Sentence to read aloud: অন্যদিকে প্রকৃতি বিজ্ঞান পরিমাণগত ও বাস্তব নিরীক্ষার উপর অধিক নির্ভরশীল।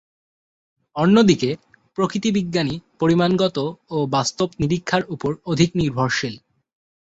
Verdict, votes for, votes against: rejected, 0, 2